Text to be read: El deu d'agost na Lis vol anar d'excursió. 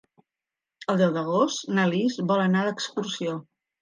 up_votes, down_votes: 3, 0